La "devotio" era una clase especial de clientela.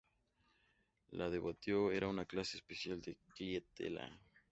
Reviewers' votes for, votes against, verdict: 0, 2, rejected